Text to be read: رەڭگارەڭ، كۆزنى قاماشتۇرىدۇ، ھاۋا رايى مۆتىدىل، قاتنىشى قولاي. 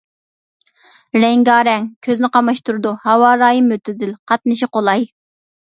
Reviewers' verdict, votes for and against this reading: accepted, 2, 0